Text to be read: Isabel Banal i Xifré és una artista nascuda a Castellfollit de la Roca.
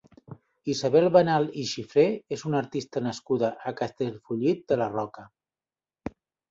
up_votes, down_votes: 2, 0